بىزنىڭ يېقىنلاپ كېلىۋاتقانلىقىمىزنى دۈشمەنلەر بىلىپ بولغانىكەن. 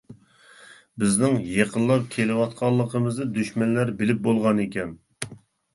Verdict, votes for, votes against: accepted, 2, 0